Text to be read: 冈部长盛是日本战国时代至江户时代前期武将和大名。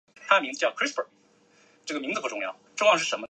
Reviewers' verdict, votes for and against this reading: rejected, 1, 2